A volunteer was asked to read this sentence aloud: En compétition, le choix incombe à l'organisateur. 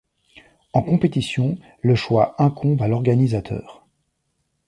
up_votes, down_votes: 2, 0